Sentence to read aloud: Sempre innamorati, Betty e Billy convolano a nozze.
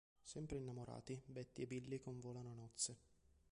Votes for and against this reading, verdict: 1, 2, rejected